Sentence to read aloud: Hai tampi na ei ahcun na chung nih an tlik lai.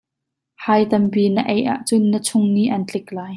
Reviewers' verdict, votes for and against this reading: accepted, 2, 0